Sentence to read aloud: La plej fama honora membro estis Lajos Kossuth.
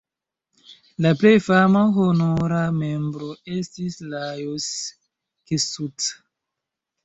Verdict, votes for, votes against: rejected, 1, 2